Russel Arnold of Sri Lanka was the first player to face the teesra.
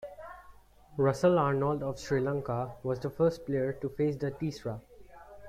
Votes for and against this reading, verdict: 3, 2, accepted